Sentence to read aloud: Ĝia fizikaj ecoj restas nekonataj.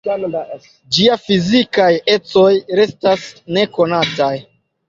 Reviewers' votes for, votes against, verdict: 2, 0, accepted